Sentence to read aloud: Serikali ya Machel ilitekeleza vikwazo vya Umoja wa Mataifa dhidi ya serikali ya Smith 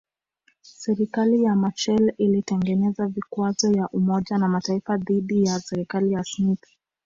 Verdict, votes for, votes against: rejected, 1, 2